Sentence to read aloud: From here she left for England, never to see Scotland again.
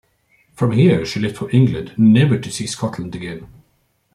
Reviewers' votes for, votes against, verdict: 2, 0, accepted